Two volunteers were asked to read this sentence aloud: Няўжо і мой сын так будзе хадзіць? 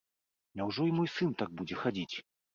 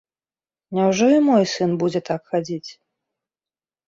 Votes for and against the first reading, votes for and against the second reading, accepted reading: 2, 0, 1, 2, first